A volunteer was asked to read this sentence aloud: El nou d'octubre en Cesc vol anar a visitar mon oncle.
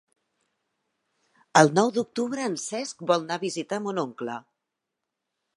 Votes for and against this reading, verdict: 0, 2, rejected